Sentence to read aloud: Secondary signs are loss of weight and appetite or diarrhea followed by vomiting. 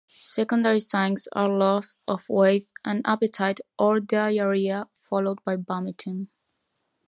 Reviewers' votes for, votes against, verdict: 2, 0, accepted